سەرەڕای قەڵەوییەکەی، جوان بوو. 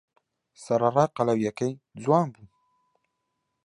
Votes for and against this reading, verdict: 2, 0, accepted